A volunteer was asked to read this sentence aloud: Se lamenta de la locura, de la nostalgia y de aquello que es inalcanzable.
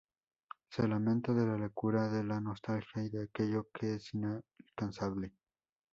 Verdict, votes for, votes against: accepted, 2, 0